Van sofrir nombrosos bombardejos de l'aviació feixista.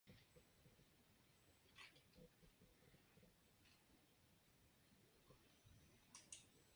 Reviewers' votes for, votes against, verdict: 0, 2, rejected